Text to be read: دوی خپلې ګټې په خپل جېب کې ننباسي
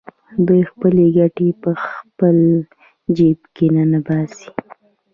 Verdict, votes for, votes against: accepted, 2, 0